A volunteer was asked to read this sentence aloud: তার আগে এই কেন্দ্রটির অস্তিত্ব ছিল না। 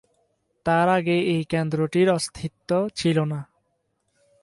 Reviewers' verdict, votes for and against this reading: accepted, 2, 0